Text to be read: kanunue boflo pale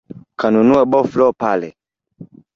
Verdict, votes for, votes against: rejected, 1, 2